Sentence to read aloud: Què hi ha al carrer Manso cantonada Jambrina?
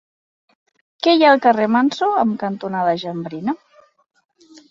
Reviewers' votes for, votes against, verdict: 1, 2, rejected